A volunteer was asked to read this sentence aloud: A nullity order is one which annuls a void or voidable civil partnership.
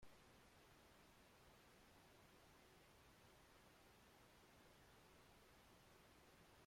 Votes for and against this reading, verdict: 0, 3, rejected